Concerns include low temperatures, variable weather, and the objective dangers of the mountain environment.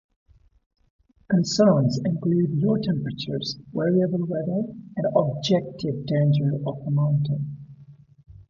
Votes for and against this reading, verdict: 0, 2, rejected